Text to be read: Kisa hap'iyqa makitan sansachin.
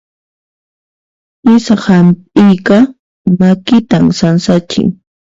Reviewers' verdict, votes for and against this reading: rejected, 0, 2